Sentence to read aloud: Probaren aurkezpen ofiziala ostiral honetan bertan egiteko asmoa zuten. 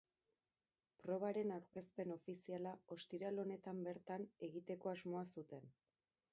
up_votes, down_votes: 2, 2